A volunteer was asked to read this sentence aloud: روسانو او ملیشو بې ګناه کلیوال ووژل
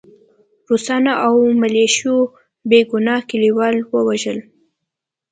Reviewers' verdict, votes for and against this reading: accepted, 2, 0